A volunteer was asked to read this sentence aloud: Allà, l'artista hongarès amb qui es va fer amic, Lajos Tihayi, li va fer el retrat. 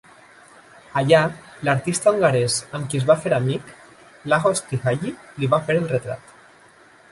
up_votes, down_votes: 0, 2